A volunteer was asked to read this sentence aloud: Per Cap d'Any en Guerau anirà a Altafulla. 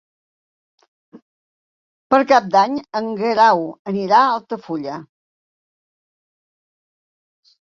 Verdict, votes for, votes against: accepted, 4, 0